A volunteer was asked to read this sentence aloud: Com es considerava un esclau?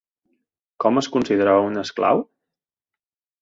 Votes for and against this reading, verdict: 2, 0, accepted